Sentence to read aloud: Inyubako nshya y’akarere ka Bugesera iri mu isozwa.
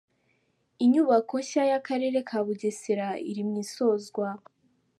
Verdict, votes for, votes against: rejected, 0, 2